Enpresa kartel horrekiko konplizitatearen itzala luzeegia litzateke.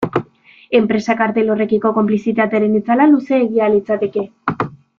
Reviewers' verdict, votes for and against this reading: accepted, 2, 0